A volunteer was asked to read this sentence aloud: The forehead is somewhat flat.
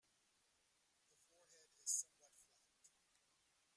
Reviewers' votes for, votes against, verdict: 0, 2, rejected